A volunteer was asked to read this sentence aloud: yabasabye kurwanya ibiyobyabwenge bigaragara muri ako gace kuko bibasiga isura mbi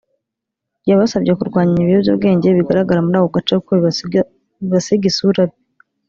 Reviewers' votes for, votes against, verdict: 1, 2, rejected